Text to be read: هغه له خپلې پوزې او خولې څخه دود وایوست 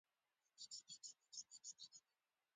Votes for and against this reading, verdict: 1, 2, rejected